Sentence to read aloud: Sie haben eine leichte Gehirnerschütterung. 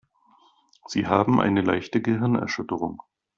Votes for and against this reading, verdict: 2, 0, accepted